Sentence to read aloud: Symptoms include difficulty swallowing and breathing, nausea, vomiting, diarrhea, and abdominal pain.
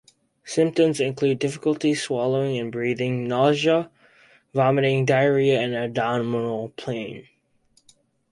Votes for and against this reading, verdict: 2, 0, accepted